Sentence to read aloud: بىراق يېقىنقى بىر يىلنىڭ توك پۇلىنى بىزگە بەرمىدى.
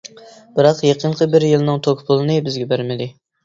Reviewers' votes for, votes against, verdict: 2, 0, accepted